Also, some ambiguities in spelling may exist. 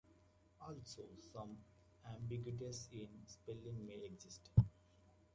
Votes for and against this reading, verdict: 1, 2, rejected